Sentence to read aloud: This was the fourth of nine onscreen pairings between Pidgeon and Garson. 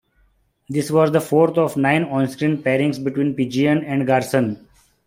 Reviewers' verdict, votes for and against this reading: accepted, 2, 0